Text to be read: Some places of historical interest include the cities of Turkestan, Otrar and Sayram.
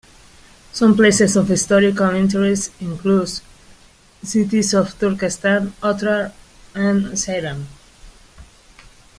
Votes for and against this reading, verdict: 0, 2, rejected